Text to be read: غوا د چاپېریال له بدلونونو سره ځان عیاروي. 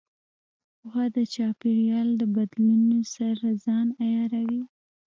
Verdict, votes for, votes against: rejected, 0, 2